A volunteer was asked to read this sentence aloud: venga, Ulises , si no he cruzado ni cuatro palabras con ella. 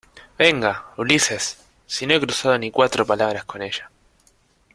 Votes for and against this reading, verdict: 2, 0, accepted